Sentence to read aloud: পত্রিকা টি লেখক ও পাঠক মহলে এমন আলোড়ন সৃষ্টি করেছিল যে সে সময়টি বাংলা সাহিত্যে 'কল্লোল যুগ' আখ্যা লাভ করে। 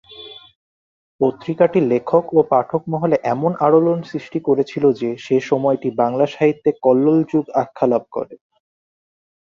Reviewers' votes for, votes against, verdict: 2, 0, accepted